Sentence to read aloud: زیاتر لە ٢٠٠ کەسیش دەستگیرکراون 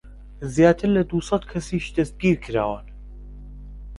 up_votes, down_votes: 0, 2